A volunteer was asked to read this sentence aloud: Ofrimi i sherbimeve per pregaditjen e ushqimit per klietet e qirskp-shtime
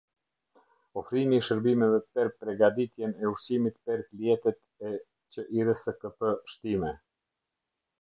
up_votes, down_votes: 0, 2